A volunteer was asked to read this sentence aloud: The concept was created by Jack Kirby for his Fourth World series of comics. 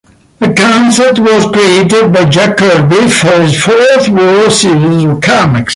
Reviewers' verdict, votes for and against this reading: accepted, 2, 0